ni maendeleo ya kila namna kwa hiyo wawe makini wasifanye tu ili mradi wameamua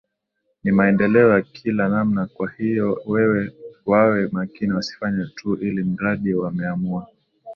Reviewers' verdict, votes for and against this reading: accepted, 2, 1